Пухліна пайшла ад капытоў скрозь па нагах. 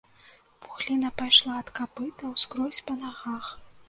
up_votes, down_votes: 0, 2